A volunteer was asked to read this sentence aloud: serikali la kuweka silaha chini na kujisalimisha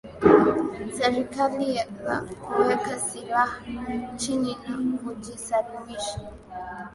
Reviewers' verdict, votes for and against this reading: accepted, 5, 0